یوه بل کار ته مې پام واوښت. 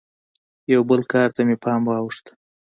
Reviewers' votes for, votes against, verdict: 2, 0, accepted